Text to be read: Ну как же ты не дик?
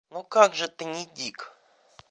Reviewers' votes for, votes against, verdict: 2, 0, accepted